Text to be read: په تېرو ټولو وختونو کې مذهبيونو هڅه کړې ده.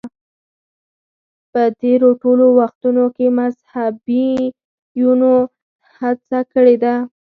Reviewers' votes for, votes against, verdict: 2, 4, rejected